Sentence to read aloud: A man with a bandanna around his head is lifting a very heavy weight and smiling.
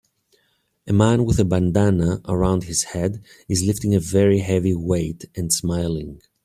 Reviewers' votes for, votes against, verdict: 3, 0, accepted